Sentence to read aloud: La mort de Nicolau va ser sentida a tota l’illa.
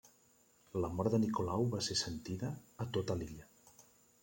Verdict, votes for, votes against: accepted, 3, 1